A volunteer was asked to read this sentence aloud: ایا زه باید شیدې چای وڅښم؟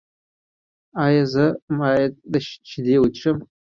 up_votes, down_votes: 2, 1